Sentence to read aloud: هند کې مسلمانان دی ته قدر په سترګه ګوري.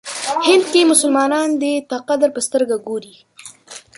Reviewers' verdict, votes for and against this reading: rejected, 1, 2